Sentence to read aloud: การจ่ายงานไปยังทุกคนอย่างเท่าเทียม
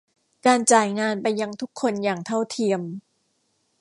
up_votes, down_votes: 3, 0